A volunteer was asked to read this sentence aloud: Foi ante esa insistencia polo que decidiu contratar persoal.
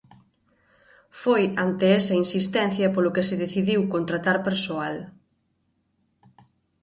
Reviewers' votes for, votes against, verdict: 0, 2, rejected